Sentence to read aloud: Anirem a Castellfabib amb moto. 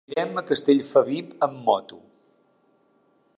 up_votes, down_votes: 0, 2